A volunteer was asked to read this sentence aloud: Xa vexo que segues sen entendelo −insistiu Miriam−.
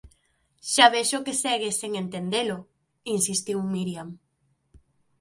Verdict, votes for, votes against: accepted, 3, 0